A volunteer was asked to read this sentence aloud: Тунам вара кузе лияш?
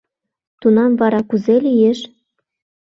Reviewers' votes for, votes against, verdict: 1, 2, rejected